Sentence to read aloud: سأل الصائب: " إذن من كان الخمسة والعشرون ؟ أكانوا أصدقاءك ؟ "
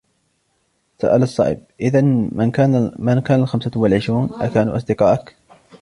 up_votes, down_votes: 2, 1